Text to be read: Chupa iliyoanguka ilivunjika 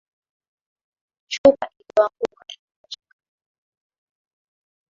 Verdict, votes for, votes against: rejected, 2, 3